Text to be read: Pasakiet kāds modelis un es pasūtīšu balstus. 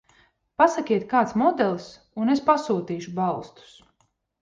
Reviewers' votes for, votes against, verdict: 2, 0, accepted